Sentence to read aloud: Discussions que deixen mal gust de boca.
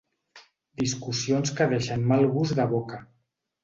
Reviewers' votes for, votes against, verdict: 2, 0, accepted